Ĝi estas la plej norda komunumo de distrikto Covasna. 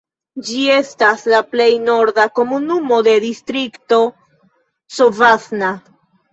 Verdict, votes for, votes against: rejected, 1, 2